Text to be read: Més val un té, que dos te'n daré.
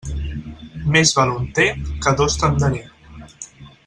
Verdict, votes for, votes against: rejected, 2, 4